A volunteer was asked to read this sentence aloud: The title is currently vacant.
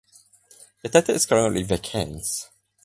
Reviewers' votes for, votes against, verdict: 4, 2, accepted